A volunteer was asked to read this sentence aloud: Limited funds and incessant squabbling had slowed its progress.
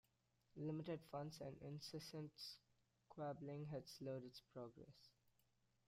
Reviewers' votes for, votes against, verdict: 1, 2, rejected